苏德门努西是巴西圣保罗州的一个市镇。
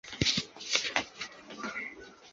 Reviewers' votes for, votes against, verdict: 1, 2, rejected